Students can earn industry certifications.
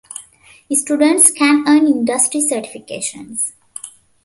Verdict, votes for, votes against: accepted, 2, 1